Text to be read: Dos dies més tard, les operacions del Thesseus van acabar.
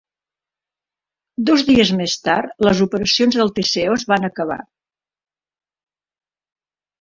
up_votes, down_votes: 2, 0